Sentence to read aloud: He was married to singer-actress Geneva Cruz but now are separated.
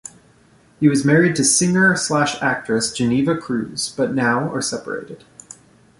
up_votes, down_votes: 0, 2